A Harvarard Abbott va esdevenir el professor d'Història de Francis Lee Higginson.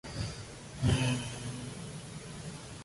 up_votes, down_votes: 0, 2